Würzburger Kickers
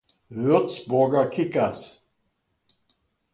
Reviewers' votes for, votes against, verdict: 2, 0, accepted